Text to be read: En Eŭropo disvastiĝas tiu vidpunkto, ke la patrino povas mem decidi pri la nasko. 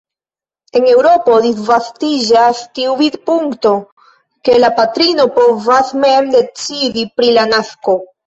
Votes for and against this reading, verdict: 2, 1, accepted